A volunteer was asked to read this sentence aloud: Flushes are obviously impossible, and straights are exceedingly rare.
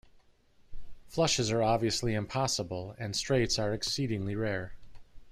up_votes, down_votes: 2, 0